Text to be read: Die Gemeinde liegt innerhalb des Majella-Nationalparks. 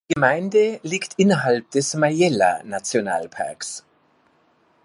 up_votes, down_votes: 1, 2